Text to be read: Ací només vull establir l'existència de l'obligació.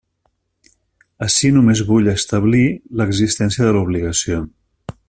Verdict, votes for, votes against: accepted, 3, 0